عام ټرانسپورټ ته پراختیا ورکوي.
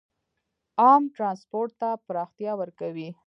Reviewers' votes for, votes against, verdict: 0, 2, rejected